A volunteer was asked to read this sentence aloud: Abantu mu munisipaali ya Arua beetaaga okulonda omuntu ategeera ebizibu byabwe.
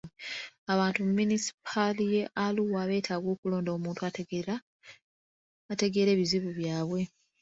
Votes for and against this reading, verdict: 1, 2, rejected